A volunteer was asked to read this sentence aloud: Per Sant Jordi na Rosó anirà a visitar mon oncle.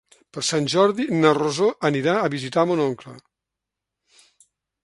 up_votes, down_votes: 5, 0